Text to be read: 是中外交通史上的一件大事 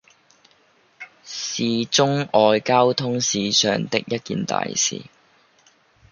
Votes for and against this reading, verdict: 1, 2, rejected